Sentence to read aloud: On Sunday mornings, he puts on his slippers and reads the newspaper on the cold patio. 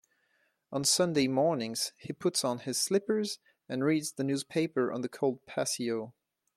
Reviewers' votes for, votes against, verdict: 2, 0, accepted